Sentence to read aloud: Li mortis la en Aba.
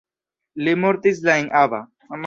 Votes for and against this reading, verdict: 0, 2, rejected